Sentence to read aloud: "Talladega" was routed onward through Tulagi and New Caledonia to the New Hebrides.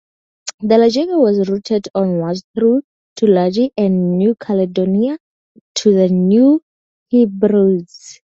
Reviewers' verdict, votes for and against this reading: rejected, 0, 2